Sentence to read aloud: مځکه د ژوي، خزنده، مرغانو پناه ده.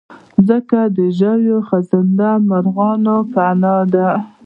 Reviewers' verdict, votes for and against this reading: accepted, 2, 0